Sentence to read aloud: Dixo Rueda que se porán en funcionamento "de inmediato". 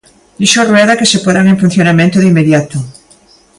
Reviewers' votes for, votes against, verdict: 2, 0, accepted